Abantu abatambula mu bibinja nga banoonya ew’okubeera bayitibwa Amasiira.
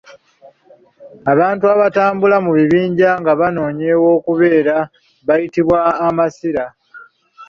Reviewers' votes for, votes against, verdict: 1, 2, rejected